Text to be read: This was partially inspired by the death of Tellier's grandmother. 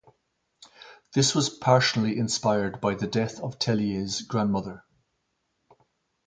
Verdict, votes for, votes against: accepted, 4, 0